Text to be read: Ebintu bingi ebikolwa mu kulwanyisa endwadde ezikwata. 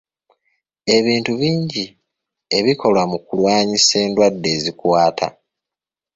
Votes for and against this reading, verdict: 1, 2, rejected